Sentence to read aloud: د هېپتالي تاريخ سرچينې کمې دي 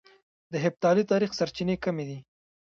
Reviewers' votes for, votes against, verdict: 1, 2, rejected